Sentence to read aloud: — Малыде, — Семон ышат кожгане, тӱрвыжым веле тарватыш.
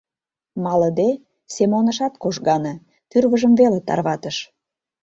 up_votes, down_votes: 2, 0